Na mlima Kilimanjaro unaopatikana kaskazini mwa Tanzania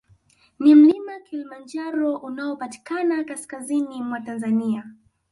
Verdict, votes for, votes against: accepted, 2, 0